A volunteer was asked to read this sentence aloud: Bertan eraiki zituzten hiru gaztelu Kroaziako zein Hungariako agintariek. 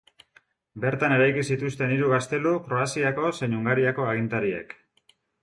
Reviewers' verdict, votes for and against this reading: accepted, 2, 0